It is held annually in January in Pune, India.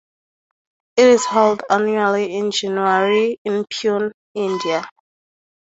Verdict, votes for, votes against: accepted, 4, 0